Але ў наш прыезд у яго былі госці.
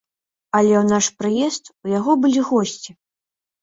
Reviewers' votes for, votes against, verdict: 2, 0, accepted